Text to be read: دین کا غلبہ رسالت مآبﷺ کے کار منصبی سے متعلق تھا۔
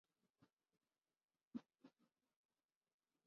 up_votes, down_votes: 2, 4